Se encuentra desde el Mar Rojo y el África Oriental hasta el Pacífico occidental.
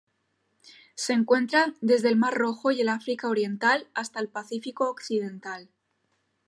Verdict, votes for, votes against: accepted, 3, 0